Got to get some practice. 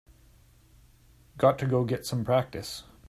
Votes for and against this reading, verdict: 0, 2, rejected